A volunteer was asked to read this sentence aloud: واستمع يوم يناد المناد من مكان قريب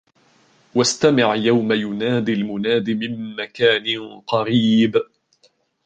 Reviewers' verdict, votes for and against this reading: rejected, 0, 2